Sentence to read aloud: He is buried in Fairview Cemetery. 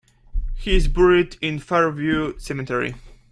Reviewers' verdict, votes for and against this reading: accepted, 2, 0